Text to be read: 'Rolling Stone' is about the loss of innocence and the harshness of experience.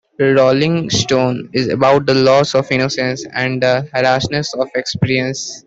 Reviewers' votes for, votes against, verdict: 0, 2, rejected